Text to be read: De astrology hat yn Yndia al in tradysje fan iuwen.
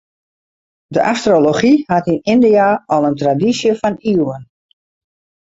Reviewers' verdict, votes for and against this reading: rejected, 0, 2